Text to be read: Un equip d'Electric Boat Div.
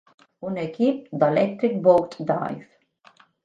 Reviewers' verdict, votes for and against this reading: rejected, 0, 2